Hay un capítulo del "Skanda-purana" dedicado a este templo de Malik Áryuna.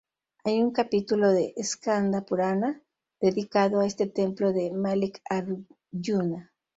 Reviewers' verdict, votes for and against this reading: rejected, 0, 2